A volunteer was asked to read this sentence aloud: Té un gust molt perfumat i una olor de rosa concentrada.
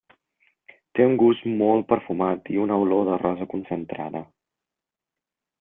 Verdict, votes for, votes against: accepted, 3, 0